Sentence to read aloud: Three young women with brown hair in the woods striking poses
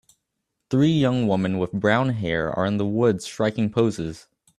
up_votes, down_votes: 0, 2